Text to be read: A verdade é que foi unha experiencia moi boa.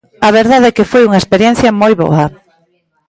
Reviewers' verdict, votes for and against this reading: accepted, 2, 0